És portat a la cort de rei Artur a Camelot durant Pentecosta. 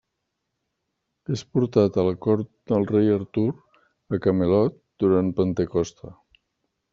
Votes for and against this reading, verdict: 0, 2, rejected